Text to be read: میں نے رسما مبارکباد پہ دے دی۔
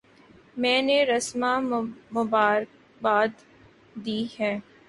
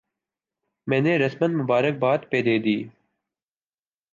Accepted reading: second